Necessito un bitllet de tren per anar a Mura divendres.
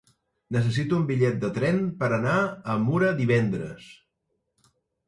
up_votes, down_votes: 2, 0